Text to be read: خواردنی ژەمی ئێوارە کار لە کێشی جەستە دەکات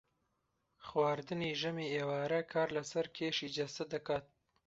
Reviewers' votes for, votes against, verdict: 1, 2, rejected